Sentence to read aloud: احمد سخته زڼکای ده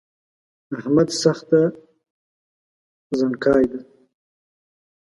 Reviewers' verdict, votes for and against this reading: rejected, 1, 2